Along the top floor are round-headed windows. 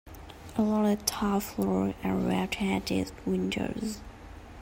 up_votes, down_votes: 1, 2